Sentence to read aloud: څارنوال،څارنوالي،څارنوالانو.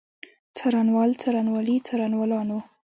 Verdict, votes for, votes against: accepted, 2, 0